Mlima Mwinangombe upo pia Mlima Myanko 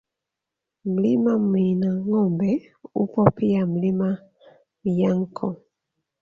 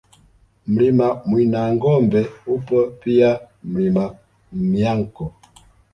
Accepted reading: second